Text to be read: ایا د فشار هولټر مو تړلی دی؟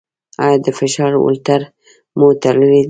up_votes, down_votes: 0, 2